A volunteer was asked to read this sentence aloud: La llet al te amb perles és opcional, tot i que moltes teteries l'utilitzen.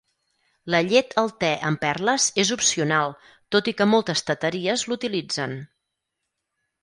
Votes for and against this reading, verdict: 6, 0, accepted